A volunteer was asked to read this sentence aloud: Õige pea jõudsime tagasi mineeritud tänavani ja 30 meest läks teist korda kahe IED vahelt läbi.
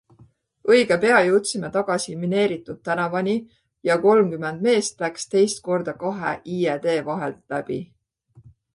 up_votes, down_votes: 0, 2